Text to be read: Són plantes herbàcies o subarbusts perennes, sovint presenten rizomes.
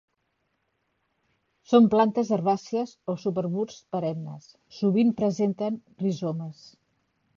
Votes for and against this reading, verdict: 2, 0, accepted